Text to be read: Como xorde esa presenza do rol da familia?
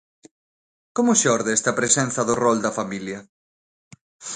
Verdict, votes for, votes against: rejected, 0, 2